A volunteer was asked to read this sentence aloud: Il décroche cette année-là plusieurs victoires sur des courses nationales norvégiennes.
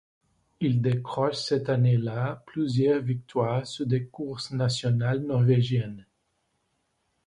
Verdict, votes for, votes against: accepted, 2, 0